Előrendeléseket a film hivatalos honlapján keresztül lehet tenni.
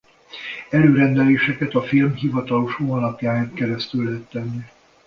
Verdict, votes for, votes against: rejected, 1, 2